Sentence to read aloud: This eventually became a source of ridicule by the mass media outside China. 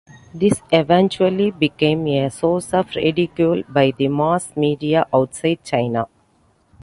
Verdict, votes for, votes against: rejected, 1, 2